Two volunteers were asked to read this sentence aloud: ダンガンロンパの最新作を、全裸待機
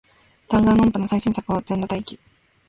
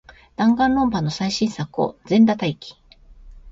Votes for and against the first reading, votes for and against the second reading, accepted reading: 0, 2, 2, 0, second